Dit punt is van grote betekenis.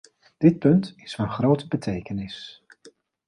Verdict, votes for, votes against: accepted, 2, 0